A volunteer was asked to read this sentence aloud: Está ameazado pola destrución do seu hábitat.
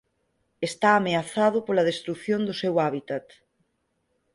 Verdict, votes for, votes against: accepted, 6, 0